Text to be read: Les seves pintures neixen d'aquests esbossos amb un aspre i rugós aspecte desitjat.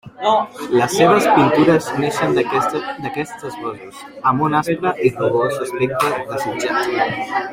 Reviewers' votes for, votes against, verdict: 0, 2, rejected